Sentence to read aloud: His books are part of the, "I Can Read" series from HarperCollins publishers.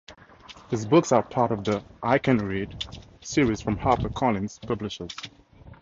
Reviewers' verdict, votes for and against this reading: accepted, 2, 0